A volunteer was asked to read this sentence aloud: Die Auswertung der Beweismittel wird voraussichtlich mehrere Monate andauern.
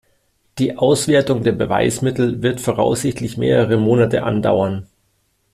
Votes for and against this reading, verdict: 2, 0, accepted